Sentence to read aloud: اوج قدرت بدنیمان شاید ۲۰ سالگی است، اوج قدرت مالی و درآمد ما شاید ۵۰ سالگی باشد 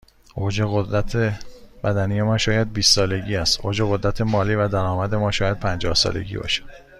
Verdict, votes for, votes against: rejected, 0, 2